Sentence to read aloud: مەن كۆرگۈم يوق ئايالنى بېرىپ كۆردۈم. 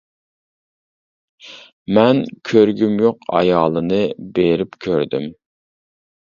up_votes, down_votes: 1, 2